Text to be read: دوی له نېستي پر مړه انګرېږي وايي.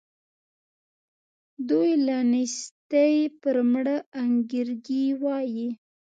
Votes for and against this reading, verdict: 2, 0, accepted